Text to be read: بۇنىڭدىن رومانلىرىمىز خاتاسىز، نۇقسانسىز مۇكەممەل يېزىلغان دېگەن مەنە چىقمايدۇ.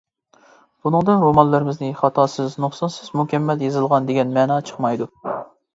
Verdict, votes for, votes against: rejected, 0, 2